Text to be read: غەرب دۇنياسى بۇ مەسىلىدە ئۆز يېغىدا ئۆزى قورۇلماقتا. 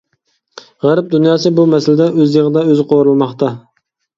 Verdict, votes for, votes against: accepted, 2, 0